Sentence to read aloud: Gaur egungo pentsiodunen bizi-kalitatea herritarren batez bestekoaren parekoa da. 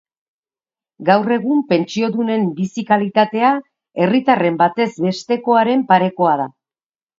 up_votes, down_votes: 2, 4